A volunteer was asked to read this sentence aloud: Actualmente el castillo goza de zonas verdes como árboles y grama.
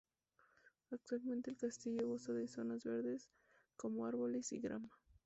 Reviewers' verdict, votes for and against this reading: accepted, 2, 0